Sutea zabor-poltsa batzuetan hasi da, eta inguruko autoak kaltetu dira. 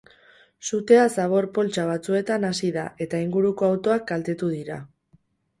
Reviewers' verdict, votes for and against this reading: accepted, 2, 0